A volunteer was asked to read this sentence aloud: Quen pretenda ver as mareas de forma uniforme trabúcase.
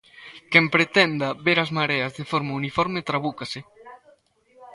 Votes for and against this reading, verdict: 1, 2, rejected